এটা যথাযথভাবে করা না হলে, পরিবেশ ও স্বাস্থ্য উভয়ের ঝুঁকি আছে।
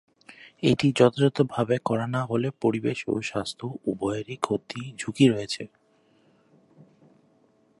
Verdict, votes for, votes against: rejected, 0, 3